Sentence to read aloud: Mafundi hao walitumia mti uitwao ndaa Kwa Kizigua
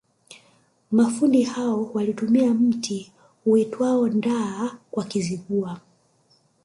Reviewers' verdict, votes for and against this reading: rejected, 1, 2